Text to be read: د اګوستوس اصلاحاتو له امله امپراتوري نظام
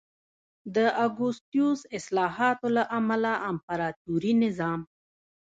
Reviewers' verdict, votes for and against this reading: rejected, 1, 2